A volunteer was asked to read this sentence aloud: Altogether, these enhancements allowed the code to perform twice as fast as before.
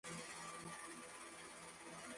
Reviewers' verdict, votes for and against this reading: rejected, 0, 3